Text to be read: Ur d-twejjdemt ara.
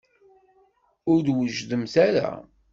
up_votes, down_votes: 1, 2